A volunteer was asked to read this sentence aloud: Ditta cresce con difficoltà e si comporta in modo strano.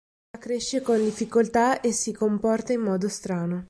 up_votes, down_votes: 1, 3